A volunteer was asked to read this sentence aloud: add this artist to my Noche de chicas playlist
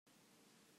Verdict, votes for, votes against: rejected, 0, 2